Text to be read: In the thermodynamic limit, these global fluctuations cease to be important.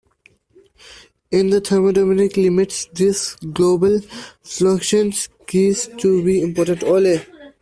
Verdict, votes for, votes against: rejected, 0, 2